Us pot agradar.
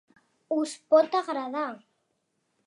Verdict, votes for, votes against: accepted, 3, 0